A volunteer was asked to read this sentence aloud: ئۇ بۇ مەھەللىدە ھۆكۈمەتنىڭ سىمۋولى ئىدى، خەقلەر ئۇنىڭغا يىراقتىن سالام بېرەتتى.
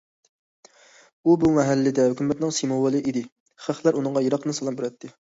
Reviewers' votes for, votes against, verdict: 2, 0, accepted